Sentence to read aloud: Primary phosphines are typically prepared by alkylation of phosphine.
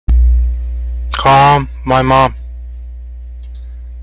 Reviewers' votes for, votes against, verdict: 0, 2, rejected